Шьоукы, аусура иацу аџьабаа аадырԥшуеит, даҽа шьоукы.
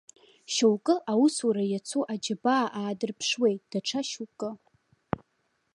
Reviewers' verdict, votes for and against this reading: rejected, 0, 2